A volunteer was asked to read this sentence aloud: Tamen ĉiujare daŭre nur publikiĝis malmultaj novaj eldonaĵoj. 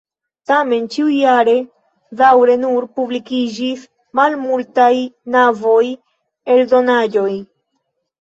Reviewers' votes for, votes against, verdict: 0, 2, rejected